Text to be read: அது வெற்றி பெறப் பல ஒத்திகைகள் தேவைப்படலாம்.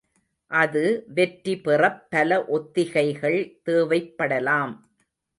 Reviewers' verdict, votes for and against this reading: accepted, 2, 0